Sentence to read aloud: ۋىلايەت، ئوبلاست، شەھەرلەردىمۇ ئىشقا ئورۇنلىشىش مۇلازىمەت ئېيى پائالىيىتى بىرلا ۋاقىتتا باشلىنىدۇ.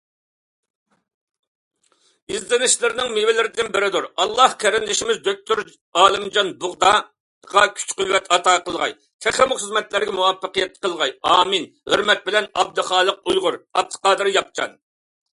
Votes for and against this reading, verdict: 0, 2, rejected